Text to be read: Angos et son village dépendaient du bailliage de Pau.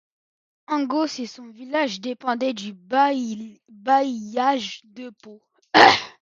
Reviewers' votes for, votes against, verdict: 0, 2, rejected